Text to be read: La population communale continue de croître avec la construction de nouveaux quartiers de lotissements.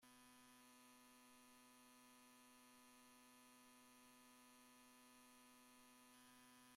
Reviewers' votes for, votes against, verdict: 0, 2, rejected